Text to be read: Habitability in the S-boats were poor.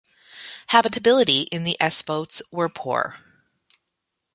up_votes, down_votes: 2, 0